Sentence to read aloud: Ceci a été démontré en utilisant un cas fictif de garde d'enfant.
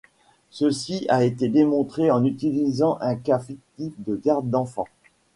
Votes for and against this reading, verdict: 1, 2, rejected